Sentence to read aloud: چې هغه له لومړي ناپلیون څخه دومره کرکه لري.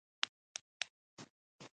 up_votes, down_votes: 0, 2